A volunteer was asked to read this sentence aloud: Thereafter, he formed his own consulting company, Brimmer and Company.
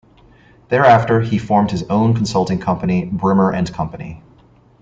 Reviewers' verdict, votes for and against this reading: rejected, 1, 2